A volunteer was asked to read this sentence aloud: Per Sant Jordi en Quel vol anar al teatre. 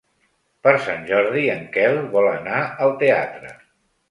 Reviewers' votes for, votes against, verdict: 3, 0, accepted